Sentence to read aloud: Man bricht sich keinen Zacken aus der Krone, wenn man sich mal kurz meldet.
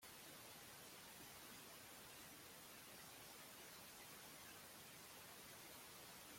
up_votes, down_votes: 0, 2